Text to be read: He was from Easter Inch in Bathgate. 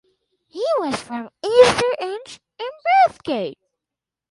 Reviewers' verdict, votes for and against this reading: accepted, 2, 0